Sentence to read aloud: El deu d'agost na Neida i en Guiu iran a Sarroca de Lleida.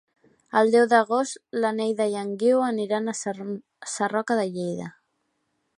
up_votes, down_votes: 0, 2